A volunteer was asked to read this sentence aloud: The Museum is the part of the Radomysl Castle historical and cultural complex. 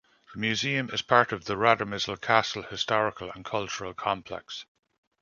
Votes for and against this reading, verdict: 2, 0, accepted